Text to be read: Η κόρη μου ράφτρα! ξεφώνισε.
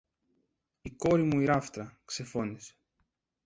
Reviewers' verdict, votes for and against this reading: rejected, 0, 2